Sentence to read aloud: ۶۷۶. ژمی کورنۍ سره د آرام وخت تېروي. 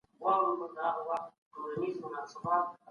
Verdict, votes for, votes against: rejected, 0, 2